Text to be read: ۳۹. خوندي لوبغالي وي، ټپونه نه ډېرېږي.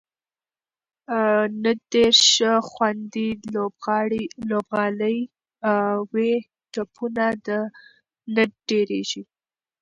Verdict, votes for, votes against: rejected, 0, 2